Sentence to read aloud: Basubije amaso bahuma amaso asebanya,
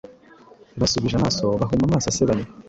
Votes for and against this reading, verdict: 2, 0, accepted